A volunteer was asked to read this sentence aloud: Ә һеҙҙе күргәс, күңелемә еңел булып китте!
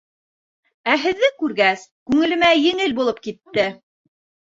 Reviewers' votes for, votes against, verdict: 2, 0, accepted